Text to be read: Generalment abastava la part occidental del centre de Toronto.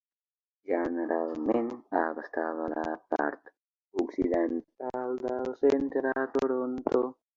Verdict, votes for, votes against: rejected, 0, 3